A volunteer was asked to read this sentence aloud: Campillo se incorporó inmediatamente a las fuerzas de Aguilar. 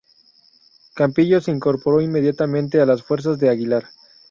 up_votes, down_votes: 2, 0